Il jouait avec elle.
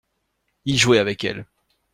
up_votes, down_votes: 2, 0